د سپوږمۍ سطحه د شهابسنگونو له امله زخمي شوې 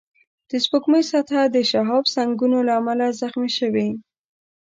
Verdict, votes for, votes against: accepted, 2, 0